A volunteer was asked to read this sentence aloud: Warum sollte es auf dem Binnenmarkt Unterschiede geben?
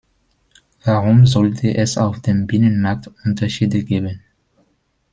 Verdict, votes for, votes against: accepted, 2, 0